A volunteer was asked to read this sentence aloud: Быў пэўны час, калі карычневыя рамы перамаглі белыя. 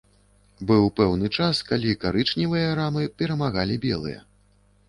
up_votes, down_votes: 1, 2